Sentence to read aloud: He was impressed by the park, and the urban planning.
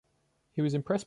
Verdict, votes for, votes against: rejected, 1, 2